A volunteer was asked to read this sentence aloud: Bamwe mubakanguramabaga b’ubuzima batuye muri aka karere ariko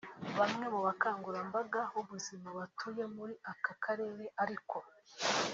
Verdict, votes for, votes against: rejected, 2, 3